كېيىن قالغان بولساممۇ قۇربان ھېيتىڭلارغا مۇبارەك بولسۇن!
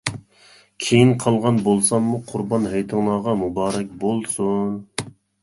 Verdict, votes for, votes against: accepted, 2, 0